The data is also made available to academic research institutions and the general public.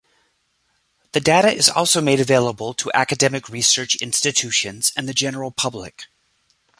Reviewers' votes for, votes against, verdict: 2, 0, accepted